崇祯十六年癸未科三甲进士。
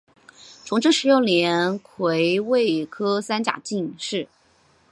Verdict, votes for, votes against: accepted, 2, 0